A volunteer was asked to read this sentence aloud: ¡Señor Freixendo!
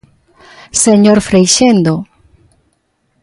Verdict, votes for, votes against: accepted, 2, 0